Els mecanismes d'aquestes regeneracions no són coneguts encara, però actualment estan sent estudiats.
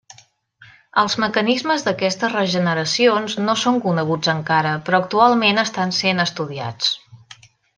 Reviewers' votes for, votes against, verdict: 3, 0, accepted